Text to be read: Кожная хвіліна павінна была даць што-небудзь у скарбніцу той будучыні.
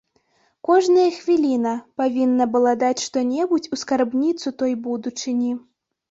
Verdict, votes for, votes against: rejected, 1, 2